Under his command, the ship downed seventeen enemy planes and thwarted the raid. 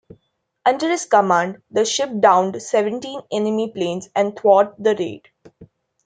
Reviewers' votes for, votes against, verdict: 1, 2, rejected